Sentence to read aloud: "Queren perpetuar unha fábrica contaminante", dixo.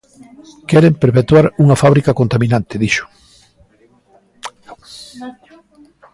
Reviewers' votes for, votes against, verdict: 2, 0, accepted